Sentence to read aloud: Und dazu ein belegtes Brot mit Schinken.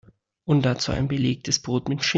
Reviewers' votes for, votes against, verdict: 0, 2, rejected